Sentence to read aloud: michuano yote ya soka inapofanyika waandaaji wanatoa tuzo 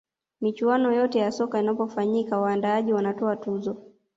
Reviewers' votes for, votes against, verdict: 1, 2, rejected